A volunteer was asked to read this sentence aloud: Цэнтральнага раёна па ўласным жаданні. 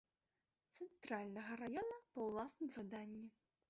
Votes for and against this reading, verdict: 2, 0, accepted